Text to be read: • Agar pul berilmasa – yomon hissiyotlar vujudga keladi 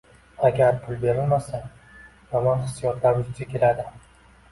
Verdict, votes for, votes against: rejected, 0, 2